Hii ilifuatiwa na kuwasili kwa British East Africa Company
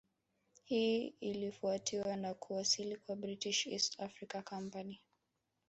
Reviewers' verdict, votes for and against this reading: rejected, 0, 2